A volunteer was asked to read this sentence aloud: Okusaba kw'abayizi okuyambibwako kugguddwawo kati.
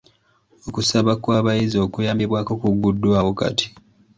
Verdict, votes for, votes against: accepted, 2, 0